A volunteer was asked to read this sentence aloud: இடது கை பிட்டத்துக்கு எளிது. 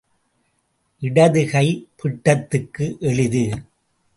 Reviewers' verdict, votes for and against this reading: accepted, 2, 0